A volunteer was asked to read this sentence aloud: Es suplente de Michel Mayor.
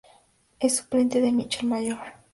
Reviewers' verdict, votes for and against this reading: accepted, 2, 0